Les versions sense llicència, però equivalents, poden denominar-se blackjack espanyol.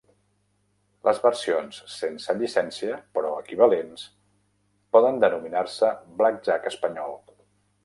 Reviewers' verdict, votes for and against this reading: rejected, 0, 2